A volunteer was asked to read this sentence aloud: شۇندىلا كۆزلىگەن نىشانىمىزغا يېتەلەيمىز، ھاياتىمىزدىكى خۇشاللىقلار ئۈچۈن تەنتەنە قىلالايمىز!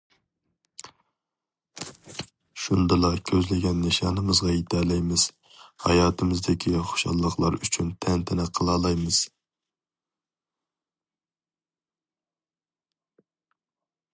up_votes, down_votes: 2, 0